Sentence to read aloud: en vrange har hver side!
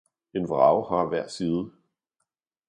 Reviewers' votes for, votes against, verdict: 0, 2, rejected